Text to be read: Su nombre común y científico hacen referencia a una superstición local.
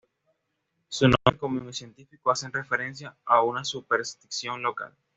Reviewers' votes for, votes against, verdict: 1, 2, rejected